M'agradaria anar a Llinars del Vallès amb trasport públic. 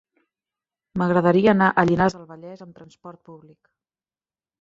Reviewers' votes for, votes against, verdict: 1, 2, rejected